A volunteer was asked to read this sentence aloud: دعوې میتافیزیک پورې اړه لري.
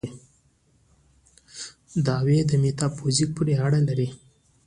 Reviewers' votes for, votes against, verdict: 2, 0, accepted